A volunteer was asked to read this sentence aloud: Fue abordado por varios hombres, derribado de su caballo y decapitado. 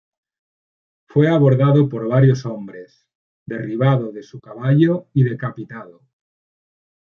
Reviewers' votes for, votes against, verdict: 2, 0, accepted